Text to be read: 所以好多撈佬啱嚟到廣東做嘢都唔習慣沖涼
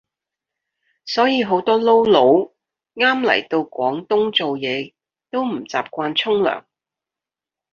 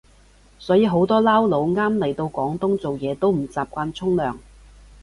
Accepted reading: second